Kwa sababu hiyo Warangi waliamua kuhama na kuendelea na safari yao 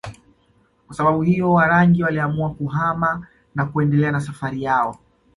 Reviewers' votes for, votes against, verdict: 2, 0, accepted